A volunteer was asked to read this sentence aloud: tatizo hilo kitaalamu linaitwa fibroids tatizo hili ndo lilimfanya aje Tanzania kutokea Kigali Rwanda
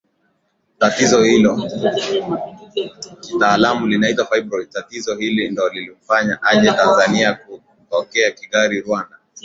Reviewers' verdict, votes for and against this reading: rejected, 6, 7